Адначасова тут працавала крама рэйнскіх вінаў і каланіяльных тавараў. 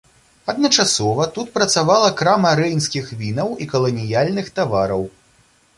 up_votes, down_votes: 2, 0